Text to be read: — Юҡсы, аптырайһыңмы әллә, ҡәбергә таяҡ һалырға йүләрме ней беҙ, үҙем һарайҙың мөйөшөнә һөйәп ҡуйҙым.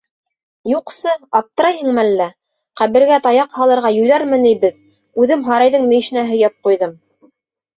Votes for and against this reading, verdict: 3, 0, accepted